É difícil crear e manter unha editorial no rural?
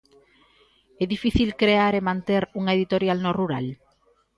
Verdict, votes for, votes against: accepted, 2, 0